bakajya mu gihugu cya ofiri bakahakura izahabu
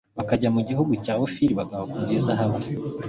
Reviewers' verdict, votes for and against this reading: accepted, 2, 0